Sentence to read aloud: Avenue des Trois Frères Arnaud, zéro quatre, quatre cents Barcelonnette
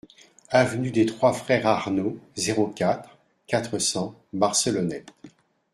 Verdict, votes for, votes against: accepted, 2, 1